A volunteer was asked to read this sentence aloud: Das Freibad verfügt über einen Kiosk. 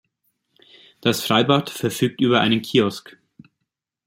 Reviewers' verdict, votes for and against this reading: accepted, 2, 0